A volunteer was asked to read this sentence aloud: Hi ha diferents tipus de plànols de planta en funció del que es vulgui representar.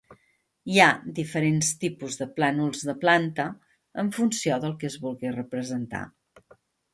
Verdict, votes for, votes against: accepted, 3, 0